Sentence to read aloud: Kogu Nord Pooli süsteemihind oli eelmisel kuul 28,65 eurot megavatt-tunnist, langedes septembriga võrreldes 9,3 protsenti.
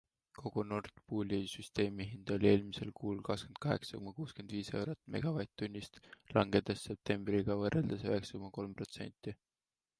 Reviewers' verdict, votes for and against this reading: rejected, 0, 2